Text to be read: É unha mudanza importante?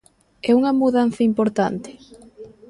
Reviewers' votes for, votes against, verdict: 0, 2, rejected